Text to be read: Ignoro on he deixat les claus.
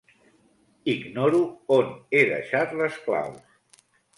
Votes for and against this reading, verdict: 2, 0, accepted